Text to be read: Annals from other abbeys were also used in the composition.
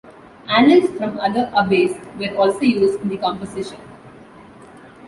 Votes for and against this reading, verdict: 2, 0, accepted